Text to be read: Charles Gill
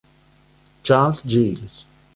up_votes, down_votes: 2, 1